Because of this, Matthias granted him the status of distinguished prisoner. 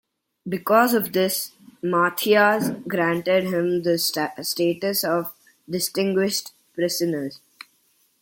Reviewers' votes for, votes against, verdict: 0, 2, rejected